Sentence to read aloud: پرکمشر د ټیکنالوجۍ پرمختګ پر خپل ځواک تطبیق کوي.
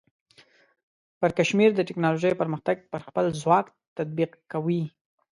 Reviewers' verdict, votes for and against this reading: rejected, 0, 2